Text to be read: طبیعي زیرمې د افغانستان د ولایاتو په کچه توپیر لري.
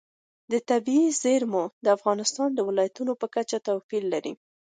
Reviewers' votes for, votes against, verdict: 2, 0, accepted